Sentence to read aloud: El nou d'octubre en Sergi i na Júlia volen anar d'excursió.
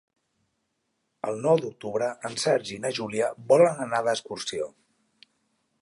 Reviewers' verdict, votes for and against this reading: accepted, 3, 0